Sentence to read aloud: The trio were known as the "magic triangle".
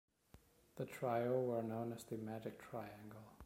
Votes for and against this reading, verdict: 2, 0, accepted